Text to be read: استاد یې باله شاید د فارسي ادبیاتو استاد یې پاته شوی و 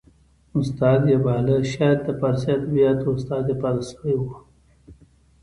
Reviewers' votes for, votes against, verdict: 1, 2, rejected